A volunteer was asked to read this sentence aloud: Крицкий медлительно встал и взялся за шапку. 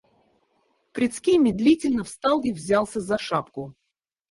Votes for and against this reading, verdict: 0, 4, rejected